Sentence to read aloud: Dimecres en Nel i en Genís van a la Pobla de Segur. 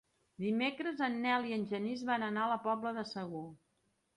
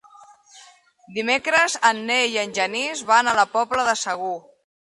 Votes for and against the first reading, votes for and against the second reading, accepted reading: 0, 2, 3, 0, second